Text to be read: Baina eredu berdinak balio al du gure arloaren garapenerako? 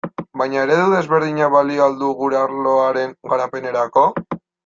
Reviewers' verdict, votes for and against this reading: rejected, 0, 2